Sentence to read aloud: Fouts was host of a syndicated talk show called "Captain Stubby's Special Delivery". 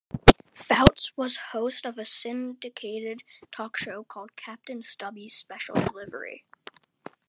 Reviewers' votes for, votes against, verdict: 1, 2, rejected